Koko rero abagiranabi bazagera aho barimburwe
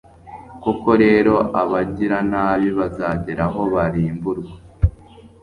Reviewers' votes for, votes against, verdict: 2, 1, accepted